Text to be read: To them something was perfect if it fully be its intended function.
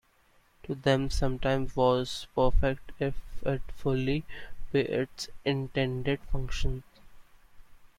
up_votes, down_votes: 0, 3